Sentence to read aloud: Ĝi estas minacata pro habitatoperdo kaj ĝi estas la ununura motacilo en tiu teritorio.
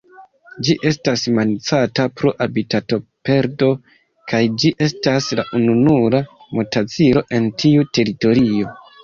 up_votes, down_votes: 0, 2